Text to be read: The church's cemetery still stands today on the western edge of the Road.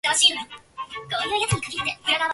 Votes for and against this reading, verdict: 0, 2, rejected